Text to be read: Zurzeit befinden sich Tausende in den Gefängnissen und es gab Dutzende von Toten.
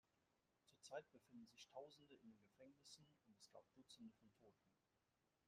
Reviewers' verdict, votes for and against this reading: rejected, 1, 2